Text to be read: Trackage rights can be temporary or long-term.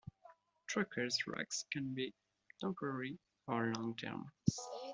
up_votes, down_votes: 2, 1